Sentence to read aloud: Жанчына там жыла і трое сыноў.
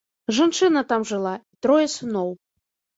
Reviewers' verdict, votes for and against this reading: rejected, 1, 2